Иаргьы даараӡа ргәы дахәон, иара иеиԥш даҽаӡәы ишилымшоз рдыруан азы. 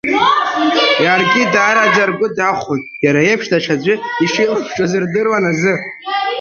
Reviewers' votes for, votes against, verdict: 0, 3, rejected